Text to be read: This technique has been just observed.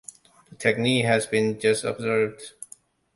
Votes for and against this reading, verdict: 1, 2, rejected